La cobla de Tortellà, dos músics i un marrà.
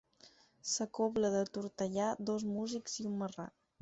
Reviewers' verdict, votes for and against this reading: rejected, 2, 4